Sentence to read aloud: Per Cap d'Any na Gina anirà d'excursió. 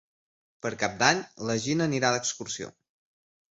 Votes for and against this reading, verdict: 4, 0, accepted